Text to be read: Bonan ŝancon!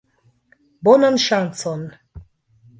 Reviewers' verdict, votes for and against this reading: accepted, 2, 1